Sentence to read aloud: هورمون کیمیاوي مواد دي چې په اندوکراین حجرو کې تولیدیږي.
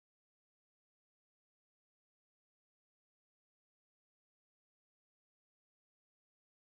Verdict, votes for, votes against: rejected, 0, 2